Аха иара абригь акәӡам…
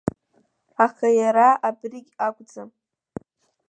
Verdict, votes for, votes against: accepted, 2, 0